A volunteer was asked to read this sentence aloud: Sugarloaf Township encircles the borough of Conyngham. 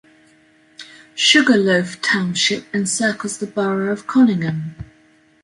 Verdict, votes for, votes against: accepted, 2, 0